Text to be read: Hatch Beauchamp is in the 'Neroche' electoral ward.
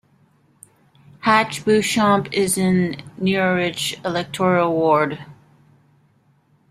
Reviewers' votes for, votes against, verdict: 0, 2, rejected